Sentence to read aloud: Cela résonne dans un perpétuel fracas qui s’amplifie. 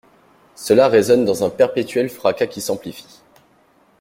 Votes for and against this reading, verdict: 2, 0, accepted